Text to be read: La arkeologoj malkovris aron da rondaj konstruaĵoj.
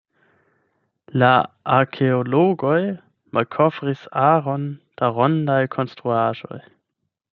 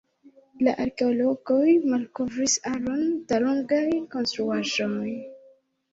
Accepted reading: first